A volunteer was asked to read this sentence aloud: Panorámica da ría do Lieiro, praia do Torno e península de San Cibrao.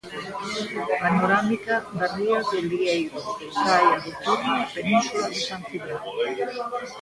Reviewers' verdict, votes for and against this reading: rejected, 0, 2